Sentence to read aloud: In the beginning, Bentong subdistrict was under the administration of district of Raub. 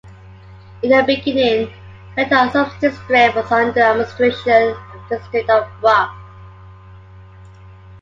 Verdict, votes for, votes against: rejected, 0, 2